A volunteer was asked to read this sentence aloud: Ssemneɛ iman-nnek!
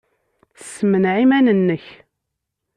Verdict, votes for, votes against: accepted, 2, 0